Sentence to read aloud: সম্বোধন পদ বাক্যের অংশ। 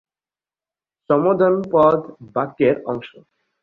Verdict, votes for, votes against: accepted, 2, 0